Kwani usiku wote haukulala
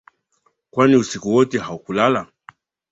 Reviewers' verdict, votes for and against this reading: accepted, 2, 0